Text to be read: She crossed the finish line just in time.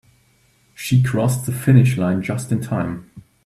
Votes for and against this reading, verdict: 2, 0, accepted